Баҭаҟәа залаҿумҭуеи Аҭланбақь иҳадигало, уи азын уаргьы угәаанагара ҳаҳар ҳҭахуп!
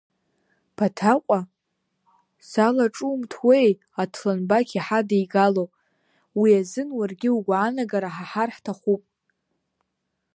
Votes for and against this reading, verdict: 2, 3, rejected